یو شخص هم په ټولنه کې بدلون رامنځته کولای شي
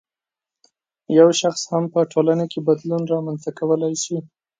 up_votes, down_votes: 4, 0